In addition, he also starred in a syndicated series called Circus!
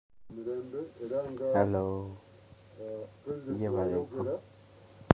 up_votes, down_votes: 0, 2